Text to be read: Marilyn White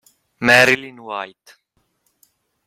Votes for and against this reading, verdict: 1, 2, rejected